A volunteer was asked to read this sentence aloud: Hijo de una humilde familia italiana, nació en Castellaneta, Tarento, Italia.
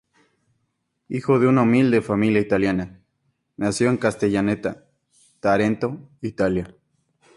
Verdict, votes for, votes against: accepted, 4, 0